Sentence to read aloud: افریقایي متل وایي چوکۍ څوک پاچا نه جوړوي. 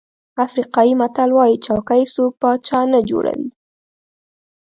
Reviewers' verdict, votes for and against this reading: accepted, 2, 0